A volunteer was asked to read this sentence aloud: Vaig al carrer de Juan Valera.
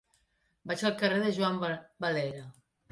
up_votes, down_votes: 0, 2